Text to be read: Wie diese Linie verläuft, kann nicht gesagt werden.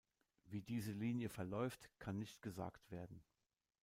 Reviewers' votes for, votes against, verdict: 2, 0, accepted